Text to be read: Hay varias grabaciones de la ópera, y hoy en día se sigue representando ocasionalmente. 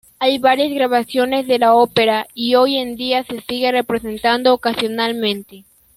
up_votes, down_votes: 2, 0